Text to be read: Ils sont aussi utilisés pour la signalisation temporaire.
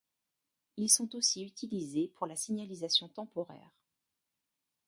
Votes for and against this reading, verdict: 1, 2, rejected